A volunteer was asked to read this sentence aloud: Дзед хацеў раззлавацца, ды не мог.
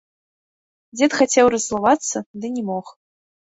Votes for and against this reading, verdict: 2, 0, accepted